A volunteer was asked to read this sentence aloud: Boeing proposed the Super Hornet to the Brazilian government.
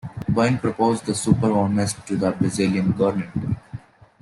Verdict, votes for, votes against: rejected, 1, 2